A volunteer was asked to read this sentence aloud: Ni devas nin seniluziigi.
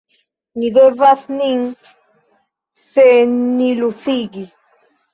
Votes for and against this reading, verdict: 1, 2, rejected